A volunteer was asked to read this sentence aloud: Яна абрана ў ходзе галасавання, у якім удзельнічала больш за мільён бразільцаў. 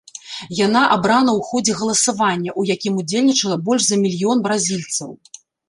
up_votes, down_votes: 1, 2